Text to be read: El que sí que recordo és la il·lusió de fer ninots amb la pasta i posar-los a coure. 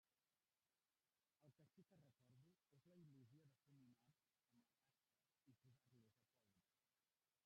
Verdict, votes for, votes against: rejected, 0, 2